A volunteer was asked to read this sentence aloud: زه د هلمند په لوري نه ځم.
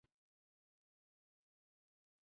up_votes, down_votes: 0, 2